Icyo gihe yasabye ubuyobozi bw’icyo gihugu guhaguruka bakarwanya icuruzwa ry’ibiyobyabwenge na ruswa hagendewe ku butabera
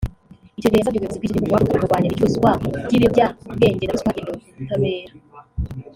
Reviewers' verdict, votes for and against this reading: rejected, 2, 3